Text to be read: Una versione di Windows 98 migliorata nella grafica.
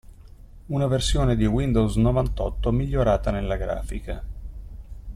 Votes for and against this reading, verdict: 0, 2, rejected